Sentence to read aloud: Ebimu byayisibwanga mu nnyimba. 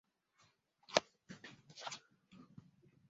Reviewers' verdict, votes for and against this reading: rejected, 0, 2